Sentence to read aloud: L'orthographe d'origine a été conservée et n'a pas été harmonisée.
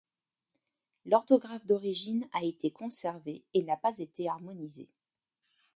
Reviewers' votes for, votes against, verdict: 2, 0, accepted